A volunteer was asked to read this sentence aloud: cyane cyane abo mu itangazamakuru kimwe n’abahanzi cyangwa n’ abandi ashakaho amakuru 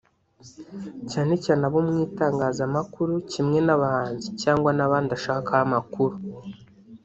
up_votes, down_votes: 1, 2